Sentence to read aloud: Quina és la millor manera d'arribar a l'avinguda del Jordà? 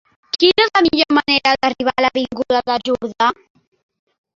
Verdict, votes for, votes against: accepted, 2, 1